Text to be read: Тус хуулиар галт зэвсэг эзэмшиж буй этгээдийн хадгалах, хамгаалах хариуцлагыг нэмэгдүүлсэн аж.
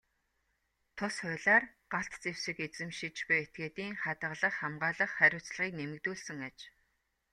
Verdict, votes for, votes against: accepted, 2, 1